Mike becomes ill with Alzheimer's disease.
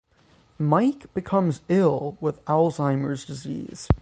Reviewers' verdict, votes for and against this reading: accepted, 3, 0